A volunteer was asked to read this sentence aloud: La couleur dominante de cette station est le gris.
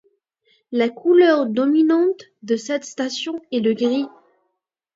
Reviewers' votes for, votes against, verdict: 2, 0, accepted